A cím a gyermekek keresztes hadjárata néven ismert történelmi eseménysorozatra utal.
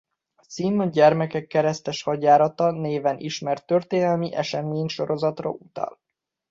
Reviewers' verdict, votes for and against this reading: rejected, 1, 2